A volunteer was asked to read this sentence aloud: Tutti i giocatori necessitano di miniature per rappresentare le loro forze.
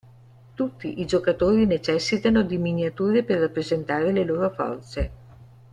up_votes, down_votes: 1, 2